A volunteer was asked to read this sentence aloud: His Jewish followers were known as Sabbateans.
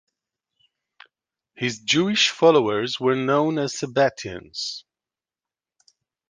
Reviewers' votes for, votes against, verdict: 2, 0, accepted